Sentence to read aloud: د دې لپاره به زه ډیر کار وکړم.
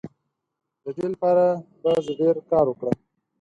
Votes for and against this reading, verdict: 4, 0, accepted